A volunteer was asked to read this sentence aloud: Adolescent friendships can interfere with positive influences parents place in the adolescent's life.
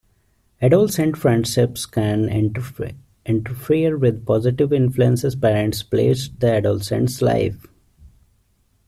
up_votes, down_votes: 1, 2